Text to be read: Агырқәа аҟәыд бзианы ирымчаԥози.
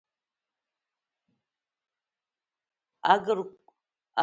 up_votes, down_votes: 0, 2